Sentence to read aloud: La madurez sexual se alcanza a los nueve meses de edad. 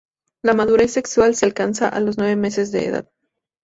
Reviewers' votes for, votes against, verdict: 0, 2, rejected